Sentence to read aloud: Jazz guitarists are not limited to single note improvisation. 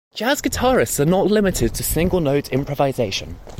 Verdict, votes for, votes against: accepted, 2, 0